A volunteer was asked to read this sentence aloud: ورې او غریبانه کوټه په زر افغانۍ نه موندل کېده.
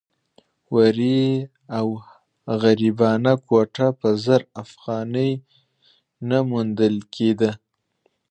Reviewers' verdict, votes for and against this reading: rejected, 1, 2